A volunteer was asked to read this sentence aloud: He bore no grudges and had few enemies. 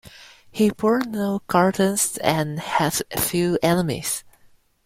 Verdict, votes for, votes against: rejected, 0, 2